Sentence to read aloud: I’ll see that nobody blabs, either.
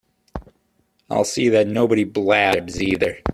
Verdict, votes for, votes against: accepted, 2, 0